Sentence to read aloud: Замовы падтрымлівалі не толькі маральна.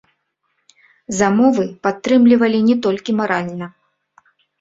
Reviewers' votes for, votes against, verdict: 0, 2, rejected